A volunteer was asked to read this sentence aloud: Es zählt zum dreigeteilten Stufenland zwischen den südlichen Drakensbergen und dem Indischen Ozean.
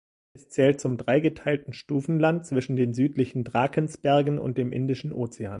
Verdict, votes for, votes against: rejected, 1, 2